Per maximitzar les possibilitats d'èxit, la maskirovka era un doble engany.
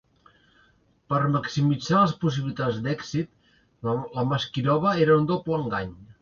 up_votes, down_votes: 1, 2